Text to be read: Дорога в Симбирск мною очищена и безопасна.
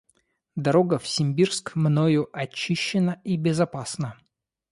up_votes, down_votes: 2, 0